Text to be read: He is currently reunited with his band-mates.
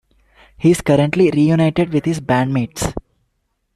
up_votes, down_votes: 2, 0